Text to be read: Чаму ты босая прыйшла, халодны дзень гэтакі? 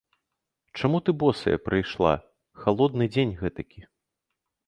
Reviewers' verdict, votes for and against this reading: accepted, 2, 0